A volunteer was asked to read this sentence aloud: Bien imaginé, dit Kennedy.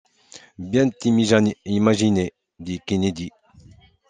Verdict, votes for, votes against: rejected, 0, 2